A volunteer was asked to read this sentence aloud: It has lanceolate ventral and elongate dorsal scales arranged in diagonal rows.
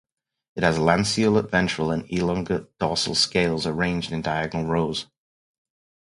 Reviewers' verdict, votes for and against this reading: accepted, 4, 0